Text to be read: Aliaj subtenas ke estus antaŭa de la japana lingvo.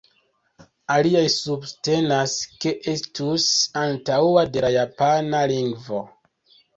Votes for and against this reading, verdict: 2, 0, accepted